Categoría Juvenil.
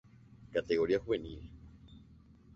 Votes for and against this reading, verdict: 2, 0, accepted